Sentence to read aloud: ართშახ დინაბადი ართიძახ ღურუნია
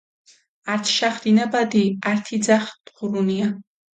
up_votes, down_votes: 1, 2